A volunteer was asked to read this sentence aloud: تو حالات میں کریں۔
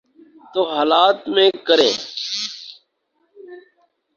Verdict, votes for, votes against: rejected, 0, 4